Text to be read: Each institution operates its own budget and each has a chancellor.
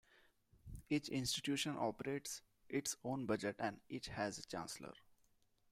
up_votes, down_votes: 2, 1